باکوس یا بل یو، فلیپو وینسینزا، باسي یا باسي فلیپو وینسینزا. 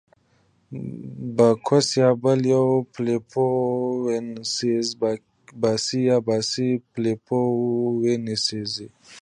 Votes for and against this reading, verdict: 2, 0, accepted